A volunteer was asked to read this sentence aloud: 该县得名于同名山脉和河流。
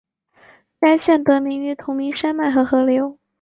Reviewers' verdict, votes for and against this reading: accepted, 6, 0